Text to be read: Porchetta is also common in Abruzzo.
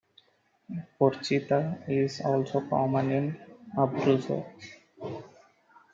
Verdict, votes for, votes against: rejected, 1, 2